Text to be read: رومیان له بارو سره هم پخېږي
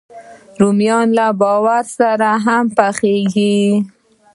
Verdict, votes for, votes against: accepted, 2, 0